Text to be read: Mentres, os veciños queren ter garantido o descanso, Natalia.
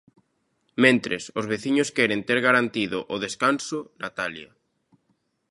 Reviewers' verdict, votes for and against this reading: accepted, 2, 0